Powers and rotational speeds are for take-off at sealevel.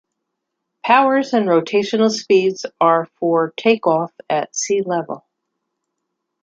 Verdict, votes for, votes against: accepted, 2, 0